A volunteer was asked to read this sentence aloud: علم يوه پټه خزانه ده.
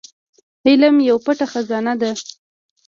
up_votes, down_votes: 1, 2